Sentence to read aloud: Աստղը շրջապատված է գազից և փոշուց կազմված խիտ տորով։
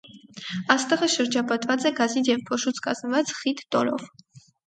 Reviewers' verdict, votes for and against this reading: rejected, 2, 2